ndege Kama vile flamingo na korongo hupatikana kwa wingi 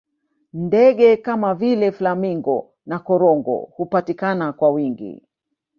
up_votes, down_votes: 0, 2